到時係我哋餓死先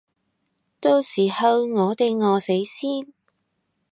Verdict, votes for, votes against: rejected, 0, 2